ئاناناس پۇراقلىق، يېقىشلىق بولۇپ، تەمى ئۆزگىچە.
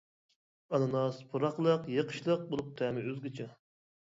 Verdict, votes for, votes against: accepted, 2, 0